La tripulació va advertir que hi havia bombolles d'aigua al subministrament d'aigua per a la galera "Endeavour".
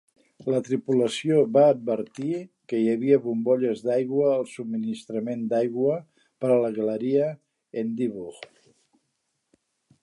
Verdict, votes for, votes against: rejected, 1, 2